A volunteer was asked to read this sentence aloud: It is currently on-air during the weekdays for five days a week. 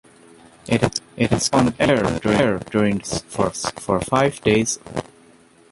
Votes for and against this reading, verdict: 0, 2, rejected